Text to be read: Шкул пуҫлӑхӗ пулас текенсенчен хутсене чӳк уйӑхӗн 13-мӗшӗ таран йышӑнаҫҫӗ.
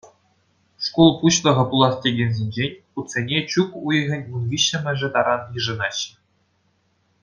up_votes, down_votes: 0, 2